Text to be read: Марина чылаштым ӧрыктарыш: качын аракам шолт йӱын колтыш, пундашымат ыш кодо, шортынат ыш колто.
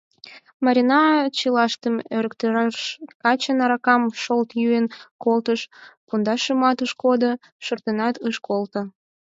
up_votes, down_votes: 2, 4